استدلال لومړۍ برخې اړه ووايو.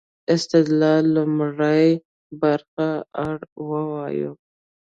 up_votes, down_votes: 1, 2